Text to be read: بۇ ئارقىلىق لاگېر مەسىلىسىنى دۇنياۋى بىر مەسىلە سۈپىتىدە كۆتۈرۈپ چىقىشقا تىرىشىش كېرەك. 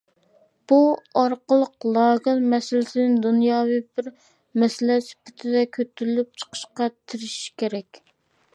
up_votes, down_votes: 0, 2